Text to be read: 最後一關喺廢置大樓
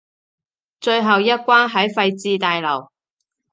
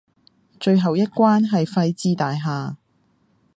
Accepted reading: first